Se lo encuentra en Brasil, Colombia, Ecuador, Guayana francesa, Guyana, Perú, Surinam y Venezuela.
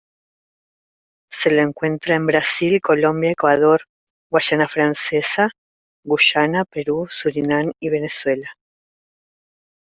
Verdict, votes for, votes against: rejected, 0, 2